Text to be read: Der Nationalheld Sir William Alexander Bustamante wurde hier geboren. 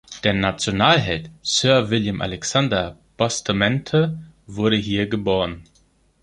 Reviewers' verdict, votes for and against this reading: rejected, 0, 2